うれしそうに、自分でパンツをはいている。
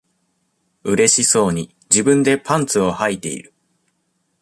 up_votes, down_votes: 2, 1